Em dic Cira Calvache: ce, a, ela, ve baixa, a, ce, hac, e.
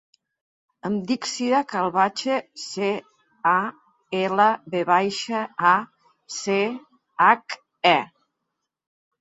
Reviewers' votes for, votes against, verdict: 0, 2, rejected